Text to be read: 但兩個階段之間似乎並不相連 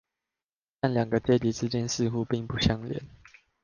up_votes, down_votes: 1, 2